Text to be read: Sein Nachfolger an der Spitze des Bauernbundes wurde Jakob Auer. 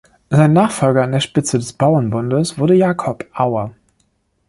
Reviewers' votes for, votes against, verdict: 2, 0, accepted